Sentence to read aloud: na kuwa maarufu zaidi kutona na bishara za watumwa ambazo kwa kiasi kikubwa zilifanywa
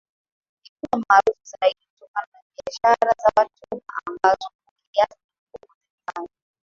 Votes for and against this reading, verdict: 3, 2, accepted